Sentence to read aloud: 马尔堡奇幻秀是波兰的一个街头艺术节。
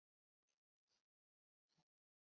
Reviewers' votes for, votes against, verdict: 3, 4, rejected